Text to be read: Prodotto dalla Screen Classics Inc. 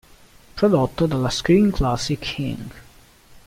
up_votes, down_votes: 2, 0